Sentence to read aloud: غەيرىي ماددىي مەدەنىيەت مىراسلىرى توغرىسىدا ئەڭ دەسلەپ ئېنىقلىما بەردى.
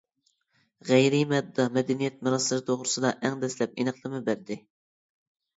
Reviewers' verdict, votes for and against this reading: rejected, 0, 2